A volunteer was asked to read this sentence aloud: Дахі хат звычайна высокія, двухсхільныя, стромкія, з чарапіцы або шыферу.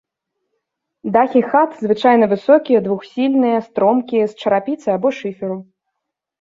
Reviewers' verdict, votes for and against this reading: rejected, 1, 2